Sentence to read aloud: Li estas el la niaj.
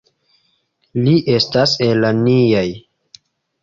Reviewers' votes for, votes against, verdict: 0, 2, rejected